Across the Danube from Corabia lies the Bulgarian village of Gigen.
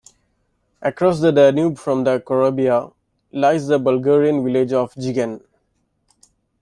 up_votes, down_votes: 0, 2